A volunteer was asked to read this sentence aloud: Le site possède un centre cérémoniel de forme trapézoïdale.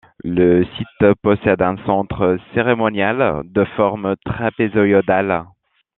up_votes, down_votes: 1, 2